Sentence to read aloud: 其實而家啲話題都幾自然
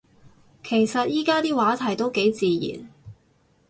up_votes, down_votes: 2, 4